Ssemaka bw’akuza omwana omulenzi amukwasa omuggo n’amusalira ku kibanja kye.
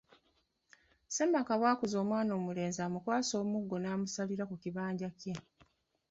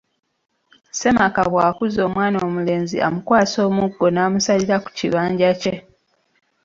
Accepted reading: second